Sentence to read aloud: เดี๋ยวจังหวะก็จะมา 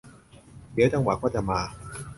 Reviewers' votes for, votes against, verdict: 2, 0, accepted